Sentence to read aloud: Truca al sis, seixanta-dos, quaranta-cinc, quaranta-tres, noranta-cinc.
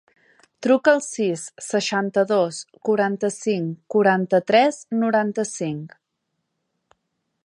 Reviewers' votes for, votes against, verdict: 3, 0, accepted